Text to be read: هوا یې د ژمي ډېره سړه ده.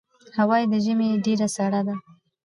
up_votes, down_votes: 2, 0